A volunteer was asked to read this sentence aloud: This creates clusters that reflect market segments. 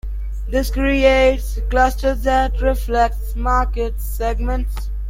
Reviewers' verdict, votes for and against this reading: rejected, 0, 2